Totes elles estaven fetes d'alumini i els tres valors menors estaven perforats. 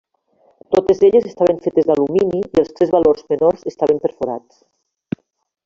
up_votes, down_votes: 3, 1